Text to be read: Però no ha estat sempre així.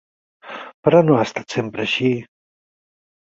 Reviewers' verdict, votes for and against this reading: accepted, 6, 0